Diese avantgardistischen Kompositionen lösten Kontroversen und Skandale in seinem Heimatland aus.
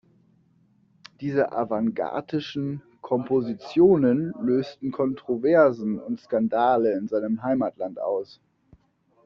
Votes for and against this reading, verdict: 0, 2, rejected